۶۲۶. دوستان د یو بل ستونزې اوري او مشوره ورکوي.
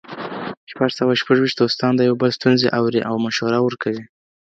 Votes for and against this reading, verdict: 0, 2, rejected